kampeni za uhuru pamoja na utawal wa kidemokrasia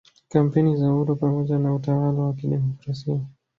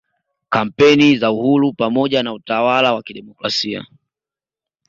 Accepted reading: second